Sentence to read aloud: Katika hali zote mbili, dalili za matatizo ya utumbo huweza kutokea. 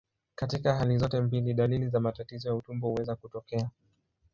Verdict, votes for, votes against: accepted, 2, 0